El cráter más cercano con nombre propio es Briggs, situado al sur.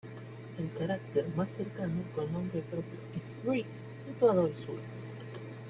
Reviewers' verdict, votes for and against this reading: accepted, 2, 0